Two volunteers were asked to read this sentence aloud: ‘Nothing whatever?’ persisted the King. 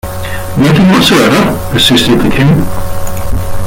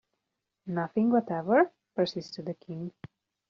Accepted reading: second